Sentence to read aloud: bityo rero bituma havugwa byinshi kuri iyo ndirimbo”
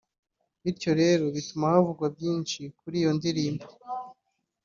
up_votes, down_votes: 2, 0